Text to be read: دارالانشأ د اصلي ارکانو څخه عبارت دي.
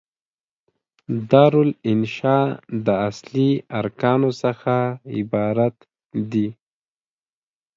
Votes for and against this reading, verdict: 2, 0, accepted